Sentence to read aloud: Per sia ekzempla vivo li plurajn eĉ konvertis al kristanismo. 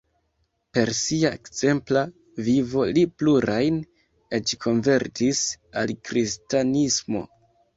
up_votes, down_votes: 2, 0